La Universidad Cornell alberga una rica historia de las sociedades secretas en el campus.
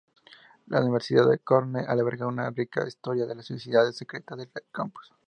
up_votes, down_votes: 0, 2